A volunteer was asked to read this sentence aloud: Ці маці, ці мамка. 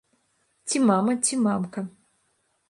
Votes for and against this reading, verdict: 0, 3, rejected